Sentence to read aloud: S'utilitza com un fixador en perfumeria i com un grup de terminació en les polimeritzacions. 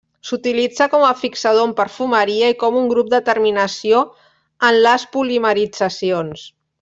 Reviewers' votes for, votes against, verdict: 1, 2, rejected